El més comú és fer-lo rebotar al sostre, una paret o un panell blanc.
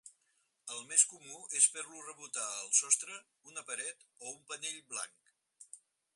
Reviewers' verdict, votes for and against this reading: accepted, 4, 2